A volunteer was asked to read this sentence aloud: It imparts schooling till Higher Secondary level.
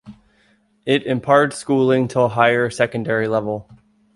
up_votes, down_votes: 3, 0